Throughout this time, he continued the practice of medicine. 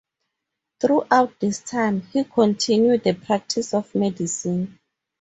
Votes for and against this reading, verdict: 2, 2, rejected